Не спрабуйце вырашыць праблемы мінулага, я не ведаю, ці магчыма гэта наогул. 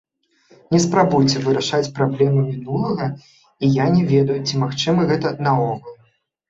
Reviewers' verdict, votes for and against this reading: rejected, 1, 2